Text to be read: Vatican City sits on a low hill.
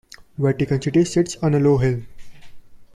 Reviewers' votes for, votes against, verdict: 2, 0, accepted